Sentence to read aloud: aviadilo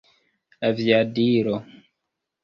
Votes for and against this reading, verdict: 1, 2, rejected